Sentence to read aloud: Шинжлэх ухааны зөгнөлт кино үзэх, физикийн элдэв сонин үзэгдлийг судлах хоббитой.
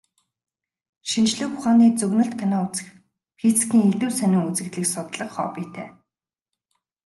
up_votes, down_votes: 2, 0